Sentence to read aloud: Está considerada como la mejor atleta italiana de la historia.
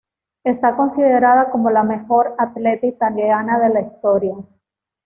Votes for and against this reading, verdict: 1, 2, rejected